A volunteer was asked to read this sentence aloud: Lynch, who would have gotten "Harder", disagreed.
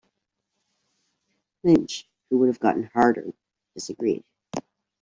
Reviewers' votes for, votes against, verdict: 2, 0, accepted